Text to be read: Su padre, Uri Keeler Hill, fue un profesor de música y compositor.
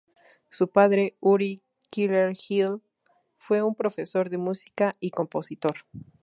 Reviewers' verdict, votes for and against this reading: rejected, 0, 2